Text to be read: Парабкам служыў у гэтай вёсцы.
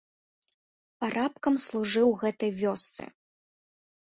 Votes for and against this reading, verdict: 3, 1, accepted